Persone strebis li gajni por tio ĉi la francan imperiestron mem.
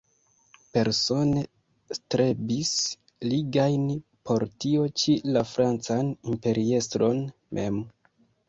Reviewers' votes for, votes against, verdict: 0, 2, rejected